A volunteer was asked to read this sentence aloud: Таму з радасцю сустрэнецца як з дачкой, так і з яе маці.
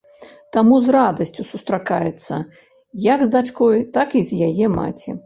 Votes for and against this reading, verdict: 0, 2, rejected